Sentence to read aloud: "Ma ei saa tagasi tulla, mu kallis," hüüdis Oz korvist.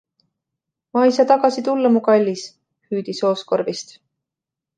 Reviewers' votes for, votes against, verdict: 2, 0, accepted